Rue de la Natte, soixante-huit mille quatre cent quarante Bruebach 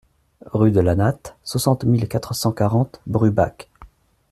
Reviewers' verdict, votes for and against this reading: rejected, 0, 2